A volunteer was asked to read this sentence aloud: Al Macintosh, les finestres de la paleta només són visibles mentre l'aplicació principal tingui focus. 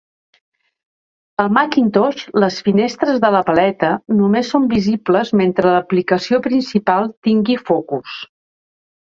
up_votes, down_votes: 2, 0